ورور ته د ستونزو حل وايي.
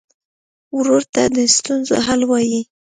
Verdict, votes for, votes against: accepted, 2, 0